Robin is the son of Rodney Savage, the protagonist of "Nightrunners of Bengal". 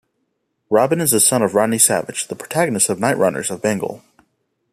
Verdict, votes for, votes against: accepted, 2, 0